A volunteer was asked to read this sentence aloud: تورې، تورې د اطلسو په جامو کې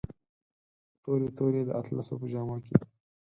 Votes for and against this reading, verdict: 4, 0, accepted